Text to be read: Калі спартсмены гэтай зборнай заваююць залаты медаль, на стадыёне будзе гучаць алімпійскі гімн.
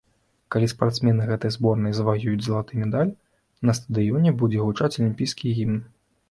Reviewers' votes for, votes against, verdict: 2, 1, accepted